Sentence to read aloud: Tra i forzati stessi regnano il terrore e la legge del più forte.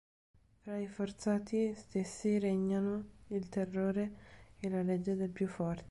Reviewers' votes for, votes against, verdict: 1, 3, rejected